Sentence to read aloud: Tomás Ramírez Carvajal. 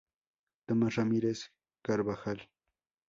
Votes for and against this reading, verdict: 2, 2, rejected